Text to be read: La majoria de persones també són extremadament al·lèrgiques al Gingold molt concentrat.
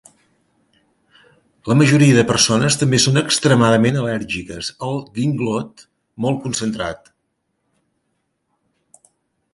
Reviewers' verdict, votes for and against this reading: rejected, 1, 2